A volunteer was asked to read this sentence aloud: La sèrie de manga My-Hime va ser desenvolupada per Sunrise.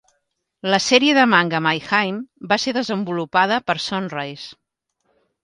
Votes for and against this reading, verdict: 2, 0, accepted